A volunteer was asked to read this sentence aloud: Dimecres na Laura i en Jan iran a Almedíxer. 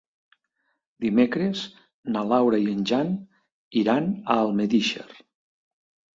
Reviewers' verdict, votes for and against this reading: accepted, 2, 0